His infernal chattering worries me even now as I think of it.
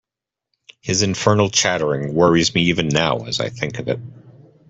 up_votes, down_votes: 2, 0